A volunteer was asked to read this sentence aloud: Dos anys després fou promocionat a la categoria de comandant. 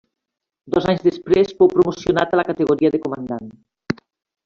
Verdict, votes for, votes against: accepted, 3, 1